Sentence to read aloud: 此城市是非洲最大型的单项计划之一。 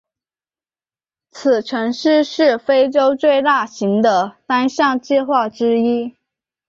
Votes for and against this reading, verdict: 4, 0, accepted